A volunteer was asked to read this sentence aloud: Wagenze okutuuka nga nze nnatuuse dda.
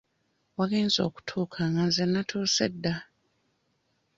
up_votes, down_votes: 2, 0